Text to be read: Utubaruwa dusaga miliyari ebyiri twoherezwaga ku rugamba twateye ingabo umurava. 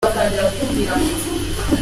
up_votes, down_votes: 0, 3